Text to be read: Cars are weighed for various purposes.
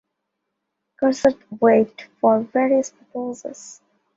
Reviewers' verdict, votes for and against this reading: accepted, 2, 0